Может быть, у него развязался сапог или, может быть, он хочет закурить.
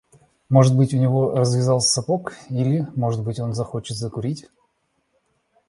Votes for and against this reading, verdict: 1, 2, rejected